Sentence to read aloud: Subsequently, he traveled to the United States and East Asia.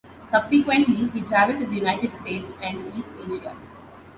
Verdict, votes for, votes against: accepted, 2, 0